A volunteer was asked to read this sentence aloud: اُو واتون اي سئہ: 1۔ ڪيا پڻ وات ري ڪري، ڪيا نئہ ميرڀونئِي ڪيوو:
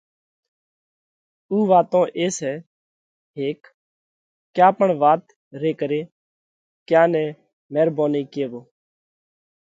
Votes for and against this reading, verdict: 0, 2, rejected